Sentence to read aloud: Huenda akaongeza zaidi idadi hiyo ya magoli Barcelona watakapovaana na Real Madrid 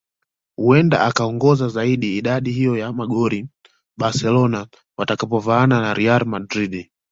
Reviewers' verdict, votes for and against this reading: accepted, 2, 0